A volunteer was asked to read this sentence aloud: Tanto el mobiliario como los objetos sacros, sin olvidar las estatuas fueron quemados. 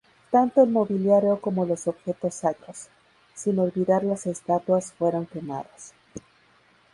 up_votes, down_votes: 2, 0